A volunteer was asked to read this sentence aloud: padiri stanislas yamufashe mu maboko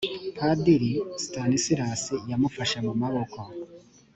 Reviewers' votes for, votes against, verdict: 3, 0, accepted